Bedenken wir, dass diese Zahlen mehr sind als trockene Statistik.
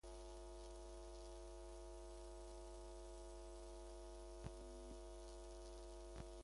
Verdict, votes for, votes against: rejected, 0, 2